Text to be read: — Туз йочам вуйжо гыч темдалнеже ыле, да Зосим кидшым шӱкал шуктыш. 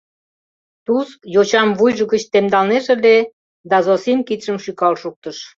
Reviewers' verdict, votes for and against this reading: accepted, 2, 0